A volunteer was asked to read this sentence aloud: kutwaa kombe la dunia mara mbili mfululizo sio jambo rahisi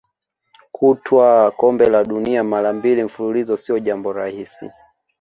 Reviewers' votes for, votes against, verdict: 0, 2, rejected